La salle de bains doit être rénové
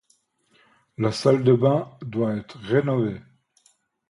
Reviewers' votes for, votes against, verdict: 2, 0, accepted